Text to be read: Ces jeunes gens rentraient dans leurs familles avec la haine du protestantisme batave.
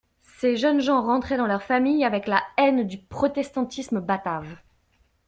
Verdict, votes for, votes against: accepted, 2, 0